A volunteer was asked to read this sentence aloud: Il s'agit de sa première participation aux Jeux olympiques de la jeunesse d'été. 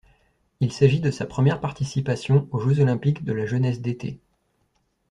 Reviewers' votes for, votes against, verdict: 2, 0, accepted